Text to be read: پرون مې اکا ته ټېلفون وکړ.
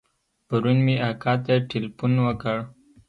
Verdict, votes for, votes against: accepted, 2, 0